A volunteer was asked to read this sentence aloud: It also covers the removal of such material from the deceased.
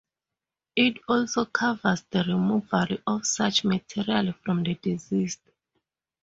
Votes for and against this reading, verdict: 0, 2, rejected